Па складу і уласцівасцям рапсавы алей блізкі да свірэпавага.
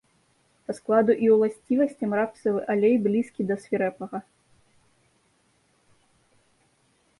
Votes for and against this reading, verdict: 1, 2, rejected